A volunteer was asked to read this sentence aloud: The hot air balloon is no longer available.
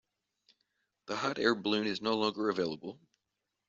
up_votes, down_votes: 2, 0